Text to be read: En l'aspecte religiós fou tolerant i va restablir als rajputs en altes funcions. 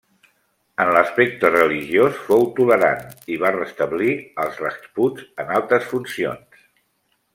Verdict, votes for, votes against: accepted, 2, 1